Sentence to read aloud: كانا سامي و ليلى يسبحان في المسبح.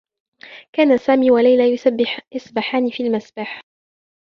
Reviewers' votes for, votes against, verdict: 1, 2, rejected